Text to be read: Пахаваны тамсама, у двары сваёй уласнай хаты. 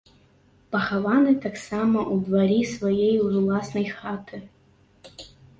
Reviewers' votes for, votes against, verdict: 0, 3, rejected